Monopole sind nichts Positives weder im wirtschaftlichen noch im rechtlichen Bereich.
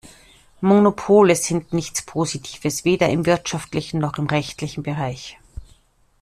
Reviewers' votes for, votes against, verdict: 2, 1, accepted